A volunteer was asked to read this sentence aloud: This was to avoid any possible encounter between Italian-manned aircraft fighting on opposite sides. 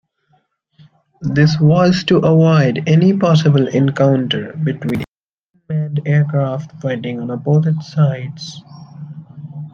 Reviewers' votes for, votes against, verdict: 0, 2, rejected